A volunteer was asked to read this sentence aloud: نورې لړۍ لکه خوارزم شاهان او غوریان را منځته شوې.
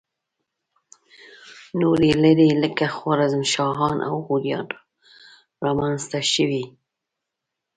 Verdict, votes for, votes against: accepted, 2, 0